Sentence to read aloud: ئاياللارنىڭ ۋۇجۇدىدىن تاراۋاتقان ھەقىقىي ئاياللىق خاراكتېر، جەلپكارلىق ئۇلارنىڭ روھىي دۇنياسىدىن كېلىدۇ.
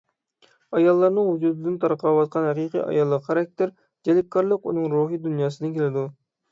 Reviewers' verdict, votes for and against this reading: rejected, 0, 6